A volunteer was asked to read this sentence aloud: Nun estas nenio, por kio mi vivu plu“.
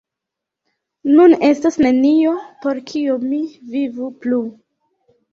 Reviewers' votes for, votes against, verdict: 2, 1, accepted